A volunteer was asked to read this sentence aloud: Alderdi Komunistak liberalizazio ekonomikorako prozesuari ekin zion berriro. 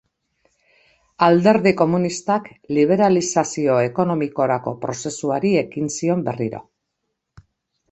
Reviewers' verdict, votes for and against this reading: accepted, 2, 0